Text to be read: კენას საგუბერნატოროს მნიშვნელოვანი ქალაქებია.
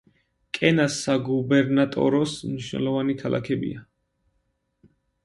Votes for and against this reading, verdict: 2, 0, accepted